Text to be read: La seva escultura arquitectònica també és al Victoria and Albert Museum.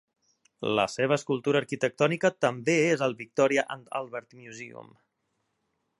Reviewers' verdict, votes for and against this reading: accepted, 2, 0